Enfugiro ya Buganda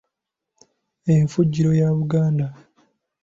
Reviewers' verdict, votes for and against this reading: accepted, 2, 0